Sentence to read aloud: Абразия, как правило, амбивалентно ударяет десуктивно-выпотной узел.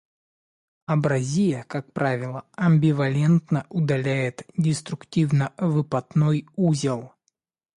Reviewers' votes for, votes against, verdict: 0, 2, rejected